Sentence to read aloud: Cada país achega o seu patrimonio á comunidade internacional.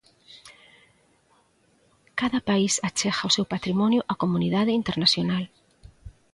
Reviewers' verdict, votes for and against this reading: accepted, 2, 0